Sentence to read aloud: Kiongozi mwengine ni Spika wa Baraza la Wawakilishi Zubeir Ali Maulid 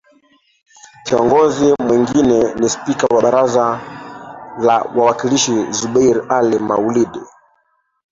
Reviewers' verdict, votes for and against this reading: rejected, 0, 3